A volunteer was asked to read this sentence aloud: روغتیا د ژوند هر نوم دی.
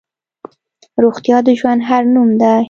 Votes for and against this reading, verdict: 2, 0, accepted